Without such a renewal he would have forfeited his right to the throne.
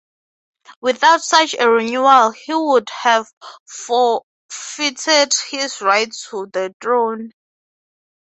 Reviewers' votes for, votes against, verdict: 6, 0, accepted